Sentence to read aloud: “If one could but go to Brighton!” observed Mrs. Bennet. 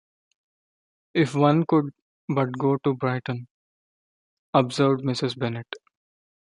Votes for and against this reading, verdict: 2, 0, accepted